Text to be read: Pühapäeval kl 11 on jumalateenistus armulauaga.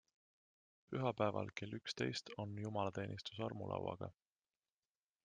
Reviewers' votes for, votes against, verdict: 0, 2, rejected